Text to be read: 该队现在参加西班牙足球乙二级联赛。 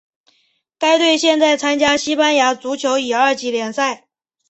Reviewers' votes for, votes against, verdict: 2, 0, accepted